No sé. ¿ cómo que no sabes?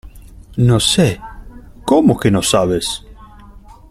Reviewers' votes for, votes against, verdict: 3, 0, accepted